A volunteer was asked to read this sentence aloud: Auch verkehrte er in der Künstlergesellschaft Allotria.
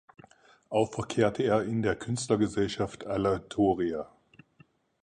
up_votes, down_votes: 0, 4